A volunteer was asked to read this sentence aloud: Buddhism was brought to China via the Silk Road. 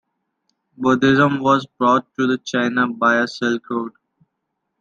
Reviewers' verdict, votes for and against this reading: rejected, 1, 2